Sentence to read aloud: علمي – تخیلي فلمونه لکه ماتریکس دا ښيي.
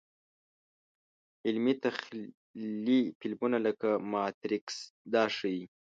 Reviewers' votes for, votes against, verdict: 1, 2, rejected